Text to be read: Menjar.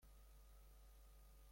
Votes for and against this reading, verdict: 0, 2, rejected